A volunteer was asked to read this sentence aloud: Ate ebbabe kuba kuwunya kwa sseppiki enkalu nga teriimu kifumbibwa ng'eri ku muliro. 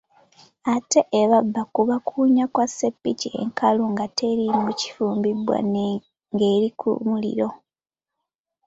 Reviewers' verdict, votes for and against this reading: accepted, 2, 1